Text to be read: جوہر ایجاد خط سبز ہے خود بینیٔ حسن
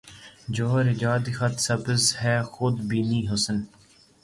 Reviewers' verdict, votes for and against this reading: accepted, 3, 0